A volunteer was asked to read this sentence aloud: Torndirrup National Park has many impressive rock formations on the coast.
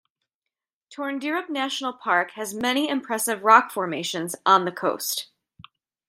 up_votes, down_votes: 3, 0